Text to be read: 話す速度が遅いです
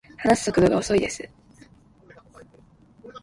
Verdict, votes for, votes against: rejected, 0, 2